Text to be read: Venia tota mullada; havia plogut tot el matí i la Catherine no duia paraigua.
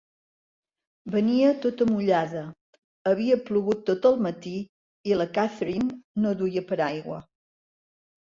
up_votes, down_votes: 2, 0